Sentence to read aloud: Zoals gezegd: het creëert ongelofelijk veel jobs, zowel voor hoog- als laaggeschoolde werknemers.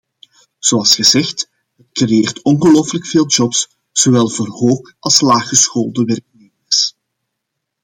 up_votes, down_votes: 2, 1